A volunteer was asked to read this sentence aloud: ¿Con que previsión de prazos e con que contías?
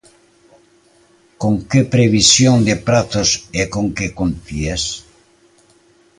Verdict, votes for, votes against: accepted, 2, 0